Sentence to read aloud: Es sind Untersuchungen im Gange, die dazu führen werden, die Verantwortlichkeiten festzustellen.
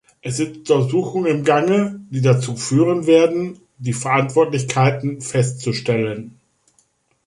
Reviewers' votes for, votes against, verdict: 2, 1, accepted